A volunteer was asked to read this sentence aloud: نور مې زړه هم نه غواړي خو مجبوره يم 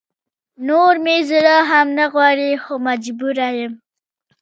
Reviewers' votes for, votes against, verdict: 1, 2, rejected